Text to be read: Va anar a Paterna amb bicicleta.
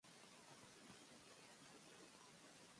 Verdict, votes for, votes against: rejected, 1, 3